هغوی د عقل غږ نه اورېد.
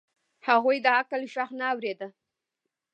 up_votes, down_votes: 2, 0